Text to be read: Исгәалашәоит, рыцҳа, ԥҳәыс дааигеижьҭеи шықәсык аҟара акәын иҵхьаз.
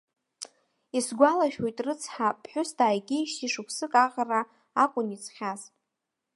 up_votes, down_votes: 1, 2